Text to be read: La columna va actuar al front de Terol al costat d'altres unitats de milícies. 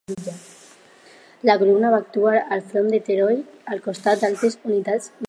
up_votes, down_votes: 0, 4